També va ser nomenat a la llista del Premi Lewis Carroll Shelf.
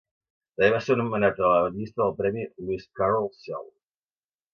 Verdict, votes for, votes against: rejected, 0, 2